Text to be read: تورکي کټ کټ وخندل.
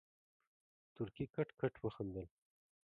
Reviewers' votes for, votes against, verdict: 2, 0, accepted